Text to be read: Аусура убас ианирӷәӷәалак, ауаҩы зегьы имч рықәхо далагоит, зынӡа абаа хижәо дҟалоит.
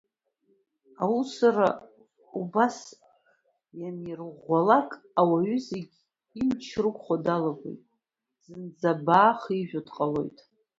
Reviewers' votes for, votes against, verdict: 0, 2, rejected